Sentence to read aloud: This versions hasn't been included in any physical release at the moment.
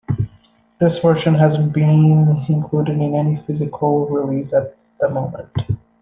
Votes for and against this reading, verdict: 1, 2, rejected